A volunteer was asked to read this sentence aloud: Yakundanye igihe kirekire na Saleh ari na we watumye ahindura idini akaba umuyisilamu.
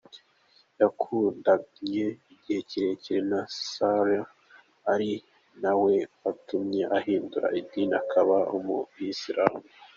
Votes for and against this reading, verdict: 2, 0, accepted